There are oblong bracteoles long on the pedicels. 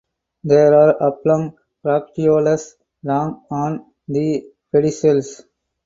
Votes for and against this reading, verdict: 2, 0, accepted